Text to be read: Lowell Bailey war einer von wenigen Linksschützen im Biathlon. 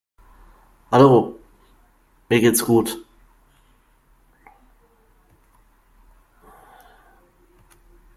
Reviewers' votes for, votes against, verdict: 0, 2, rejected